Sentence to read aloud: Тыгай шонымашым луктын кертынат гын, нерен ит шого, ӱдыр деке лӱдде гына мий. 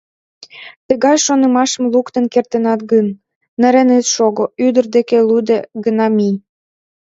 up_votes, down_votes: 0, 2